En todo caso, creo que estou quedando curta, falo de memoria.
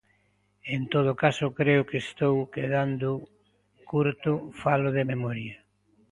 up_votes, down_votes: 0, 2